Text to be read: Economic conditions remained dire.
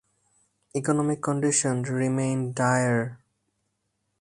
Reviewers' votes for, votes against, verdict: 0, 4, rejected